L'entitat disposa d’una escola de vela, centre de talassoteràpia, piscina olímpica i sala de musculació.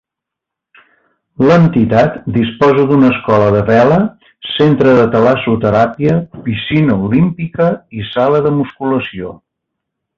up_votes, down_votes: 2, 0